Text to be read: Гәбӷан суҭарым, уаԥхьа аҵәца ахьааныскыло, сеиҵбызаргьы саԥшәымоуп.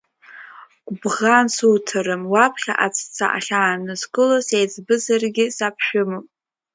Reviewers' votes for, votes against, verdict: 1, 2, rejected